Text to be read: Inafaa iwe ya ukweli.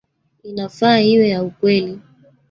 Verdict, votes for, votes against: rejected, 1, 2